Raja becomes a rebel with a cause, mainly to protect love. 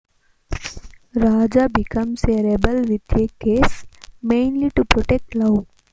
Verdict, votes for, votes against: rejected, 1, 2